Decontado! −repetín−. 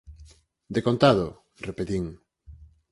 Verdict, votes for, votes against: accepted, 4, 0